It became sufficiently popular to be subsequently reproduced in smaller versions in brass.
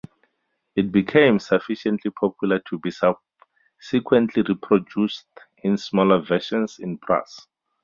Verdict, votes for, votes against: accepted, 4, 0